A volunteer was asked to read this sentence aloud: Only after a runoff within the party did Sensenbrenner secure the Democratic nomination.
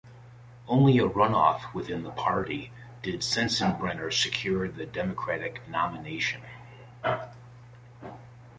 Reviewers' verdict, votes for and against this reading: rejected, 1, 2